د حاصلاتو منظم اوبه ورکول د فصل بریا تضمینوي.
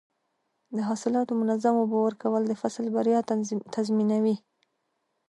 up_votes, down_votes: 2, 0